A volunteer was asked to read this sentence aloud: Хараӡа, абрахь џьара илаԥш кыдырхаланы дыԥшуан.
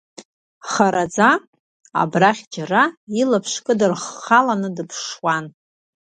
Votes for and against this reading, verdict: 1, 2, rejected